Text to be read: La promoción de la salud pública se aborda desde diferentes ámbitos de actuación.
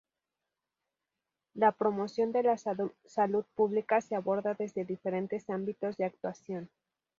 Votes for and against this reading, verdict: 0, 4, rejected